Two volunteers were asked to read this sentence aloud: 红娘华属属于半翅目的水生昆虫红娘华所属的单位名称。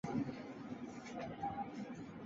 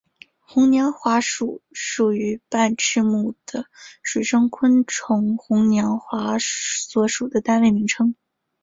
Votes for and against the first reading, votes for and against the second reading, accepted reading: 0, 2, 3, 0, second